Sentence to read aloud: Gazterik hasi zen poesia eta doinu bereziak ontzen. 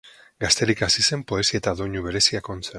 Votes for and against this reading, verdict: 2, 0, accepted